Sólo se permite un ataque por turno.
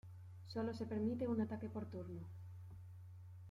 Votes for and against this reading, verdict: 2, 0, accepted